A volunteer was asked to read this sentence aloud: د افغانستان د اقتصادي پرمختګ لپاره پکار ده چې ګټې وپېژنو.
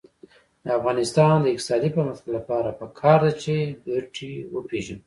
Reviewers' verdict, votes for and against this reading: rejected, 0, 2